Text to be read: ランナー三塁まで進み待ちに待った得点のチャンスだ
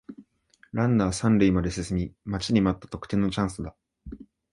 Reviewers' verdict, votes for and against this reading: accepted, 2, 0